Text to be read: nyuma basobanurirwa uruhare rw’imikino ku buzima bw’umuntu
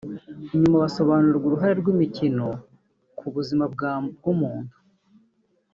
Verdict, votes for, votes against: rejected, 1, 3